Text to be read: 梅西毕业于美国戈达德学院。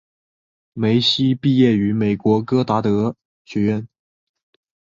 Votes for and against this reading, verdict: 2, 0, accepted